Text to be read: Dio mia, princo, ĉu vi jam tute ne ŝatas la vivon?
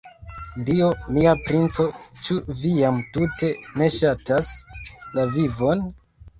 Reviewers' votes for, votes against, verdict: 2, 1, accepted